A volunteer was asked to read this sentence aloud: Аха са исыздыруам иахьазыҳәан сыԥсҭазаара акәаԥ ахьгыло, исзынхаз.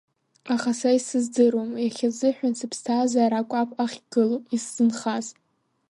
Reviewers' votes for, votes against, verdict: 1, 2, rejected